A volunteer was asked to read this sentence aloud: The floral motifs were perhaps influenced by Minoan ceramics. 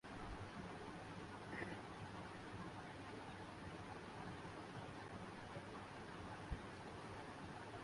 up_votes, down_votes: 0, 4